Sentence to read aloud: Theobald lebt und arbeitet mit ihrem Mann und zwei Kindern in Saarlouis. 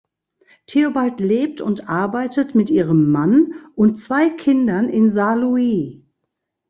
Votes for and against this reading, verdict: 2, 0, accepted